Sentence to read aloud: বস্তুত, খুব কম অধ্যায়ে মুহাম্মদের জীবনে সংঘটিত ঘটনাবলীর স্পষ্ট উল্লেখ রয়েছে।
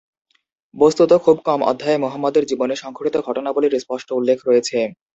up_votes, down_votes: 3, 0